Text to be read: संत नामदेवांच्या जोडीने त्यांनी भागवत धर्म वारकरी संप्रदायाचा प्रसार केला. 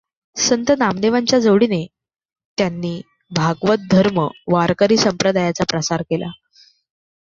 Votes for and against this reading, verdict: 2, 0, accepted